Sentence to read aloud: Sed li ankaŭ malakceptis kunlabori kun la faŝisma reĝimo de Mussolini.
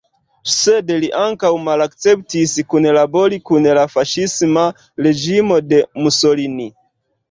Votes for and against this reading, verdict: 0, 2, rejected